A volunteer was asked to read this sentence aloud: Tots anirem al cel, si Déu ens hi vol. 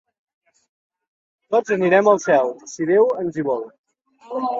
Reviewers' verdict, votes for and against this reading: accepted, 2, 0